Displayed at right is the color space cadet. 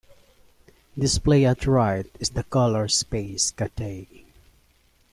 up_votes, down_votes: 1, 2